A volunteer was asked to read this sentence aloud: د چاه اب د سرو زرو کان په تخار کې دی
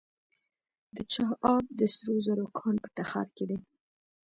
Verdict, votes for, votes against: rejected, 1, 2